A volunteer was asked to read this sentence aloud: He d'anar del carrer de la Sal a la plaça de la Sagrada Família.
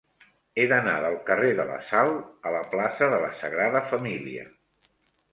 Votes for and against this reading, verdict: 3, 0, accepted